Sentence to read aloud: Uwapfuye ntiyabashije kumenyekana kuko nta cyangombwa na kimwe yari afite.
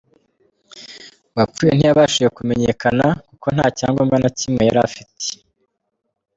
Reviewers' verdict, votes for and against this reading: accepted, 2, 1